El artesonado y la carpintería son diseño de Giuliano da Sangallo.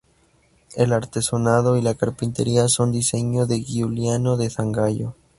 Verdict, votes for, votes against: rejected, 0, 2